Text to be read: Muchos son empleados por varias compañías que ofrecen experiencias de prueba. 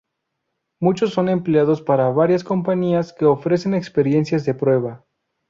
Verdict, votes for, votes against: rejected, 0, 2